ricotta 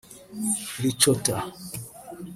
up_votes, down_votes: 0, 2